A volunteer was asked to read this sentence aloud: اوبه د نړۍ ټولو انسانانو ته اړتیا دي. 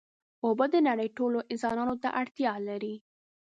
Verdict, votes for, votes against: rejected, 1, 2